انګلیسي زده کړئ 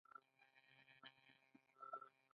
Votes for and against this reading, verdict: 0, 2, rejected